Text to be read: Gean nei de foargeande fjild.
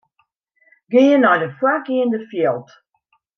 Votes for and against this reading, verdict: 2, 0, accepted